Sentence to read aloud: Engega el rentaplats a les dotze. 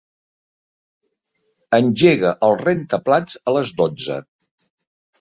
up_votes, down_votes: 2, 0